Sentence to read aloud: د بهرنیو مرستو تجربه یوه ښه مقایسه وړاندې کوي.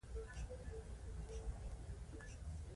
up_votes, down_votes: 2, 1